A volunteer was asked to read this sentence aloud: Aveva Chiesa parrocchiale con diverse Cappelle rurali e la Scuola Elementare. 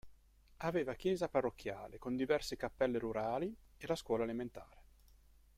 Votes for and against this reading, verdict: 2, 0, accepted